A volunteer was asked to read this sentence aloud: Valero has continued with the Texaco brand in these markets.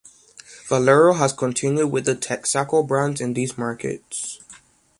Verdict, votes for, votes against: accepted, 2, 0